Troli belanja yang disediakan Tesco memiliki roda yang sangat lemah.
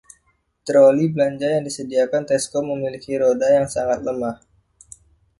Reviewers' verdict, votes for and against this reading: accepted, 2, 0